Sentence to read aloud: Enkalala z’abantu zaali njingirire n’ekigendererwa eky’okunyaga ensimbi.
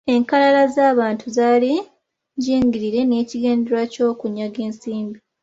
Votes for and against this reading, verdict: 2, 0, accepted